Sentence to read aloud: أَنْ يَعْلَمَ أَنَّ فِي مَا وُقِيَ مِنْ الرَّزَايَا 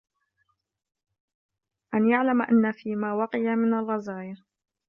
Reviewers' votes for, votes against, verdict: 2, 0, accepted